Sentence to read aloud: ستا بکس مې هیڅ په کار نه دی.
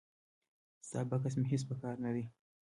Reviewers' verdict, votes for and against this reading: accepted, 2, 0